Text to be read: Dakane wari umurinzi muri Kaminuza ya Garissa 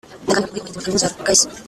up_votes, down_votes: 0, 2